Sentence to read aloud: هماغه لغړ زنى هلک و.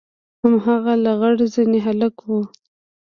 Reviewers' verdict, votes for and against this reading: accepted, 2, 1